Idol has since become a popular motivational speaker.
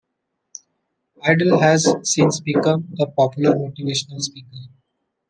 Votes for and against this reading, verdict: 1, 2, rejected